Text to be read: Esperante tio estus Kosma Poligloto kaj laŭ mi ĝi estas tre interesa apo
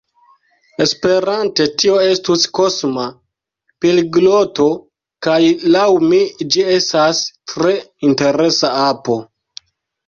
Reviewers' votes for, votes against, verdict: 0, 2, rejected